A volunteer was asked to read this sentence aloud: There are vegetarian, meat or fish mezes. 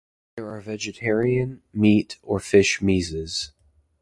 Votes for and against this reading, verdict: 2, 0, accepted